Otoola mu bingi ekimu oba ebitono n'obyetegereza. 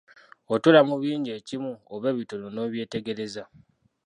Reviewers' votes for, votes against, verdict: 0, 2, rejected